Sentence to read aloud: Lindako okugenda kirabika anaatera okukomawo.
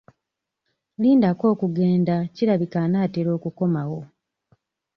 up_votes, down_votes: 1, 2